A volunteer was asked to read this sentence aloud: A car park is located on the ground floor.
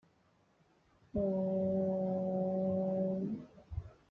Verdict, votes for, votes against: rejected, 0, 2